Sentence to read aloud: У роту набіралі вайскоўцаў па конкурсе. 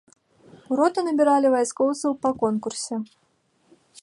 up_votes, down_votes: 2, 0